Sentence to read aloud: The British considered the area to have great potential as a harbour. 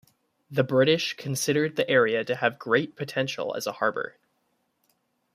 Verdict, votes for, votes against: accepted, 2, 0